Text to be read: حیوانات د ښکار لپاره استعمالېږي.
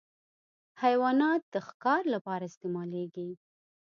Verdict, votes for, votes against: accepted, 2, 0